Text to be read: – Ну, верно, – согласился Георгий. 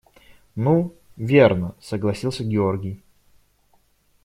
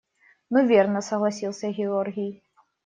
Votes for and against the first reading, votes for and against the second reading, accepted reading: 2, 0, 1, 2, first